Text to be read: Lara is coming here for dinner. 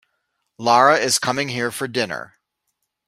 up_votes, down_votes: 2, 0